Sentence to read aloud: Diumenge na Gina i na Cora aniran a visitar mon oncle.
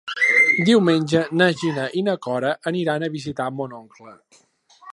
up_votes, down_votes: 2, 3